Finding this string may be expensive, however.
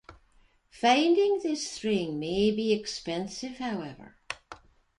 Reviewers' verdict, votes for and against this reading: accepted, 2, 0